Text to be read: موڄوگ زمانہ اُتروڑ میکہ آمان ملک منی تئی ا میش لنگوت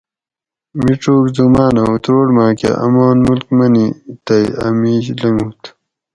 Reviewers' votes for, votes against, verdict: 2, 2, rejected